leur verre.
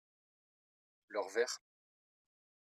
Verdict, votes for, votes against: rejected, 1, 2